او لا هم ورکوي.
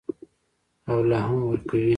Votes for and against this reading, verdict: 0, 2, rejected